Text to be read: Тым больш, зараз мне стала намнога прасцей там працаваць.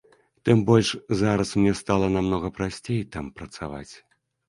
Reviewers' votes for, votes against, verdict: 3, 0, accepted